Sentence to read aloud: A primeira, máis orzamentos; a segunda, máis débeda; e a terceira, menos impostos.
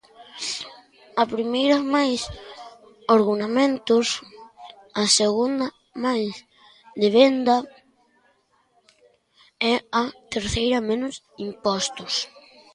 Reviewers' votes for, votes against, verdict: 0, 3, rejected